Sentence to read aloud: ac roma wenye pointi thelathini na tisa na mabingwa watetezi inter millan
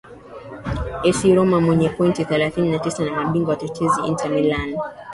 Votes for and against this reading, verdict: 0, 2, rejected